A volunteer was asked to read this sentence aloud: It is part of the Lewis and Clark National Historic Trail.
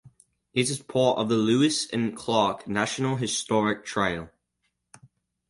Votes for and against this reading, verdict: 4, 0, accepted